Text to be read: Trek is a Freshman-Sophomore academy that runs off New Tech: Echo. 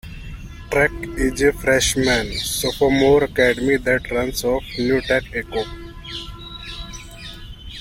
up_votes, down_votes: 2, 0